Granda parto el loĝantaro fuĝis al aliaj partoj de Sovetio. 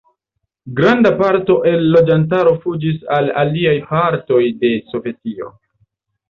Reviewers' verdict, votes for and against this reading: accepted, 2, 0